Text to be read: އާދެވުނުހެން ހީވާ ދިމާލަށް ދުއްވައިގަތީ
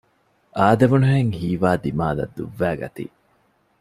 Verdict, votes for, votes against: accepted, 2, 0